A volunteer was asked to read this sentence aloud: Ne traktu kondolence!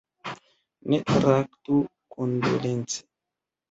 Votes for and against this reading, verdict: 1, 2, rejected